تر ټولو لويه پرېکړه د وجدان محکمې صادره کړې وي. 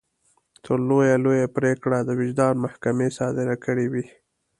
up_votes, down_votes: 0, 2